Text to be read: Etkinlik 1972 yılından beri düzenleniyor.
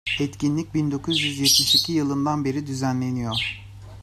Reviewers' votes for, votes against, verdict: 0, 2, rejected